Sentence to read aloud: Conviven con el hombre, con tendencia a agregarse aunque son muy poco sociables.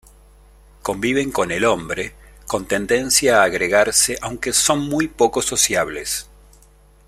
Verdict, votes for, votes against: accepted, 2, 0